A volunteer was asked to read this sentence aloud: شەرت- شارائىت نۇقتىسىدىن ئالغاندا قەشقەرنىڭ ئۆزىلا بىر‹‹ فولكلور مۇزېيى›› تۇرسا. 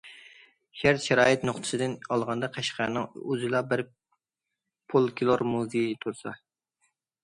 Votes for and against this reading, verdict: 0, 2, rejected